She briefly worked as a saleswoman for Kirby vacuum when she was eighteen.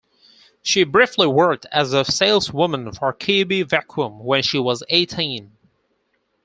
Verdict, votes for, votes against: accepted, 4, 2